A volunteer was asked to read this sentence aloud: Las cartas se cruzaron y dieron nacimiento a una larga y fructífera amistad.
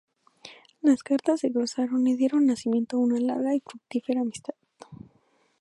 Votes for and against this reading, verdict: 0, 2, rejected